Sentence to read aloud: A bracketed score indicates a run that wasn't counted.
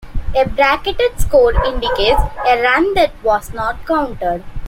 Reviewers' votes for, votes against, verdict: 0, 2, rejected